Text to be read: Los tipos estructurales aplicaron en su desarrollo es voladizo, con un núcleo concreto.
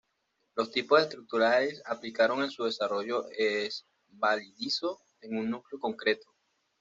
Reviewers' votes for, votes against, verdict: 1, 2, rejected